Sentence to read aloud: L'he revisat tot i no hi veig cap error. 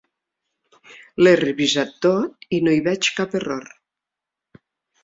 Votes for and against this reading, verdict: 3, 0, accepted